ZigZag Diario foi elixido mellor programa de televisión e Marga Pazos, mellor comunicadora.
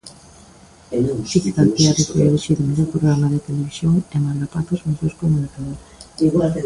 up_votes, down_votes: 0, 2